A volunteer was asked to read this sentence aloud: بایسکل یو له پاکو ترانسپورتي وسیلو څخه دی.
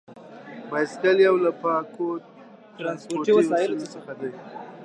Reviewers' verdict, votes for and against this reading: rejected, 1, 2